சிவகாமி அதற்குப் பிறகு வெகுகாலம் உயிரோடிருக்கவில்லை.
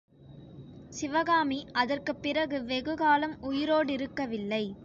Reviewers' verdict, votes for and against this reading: accepted, 2, 0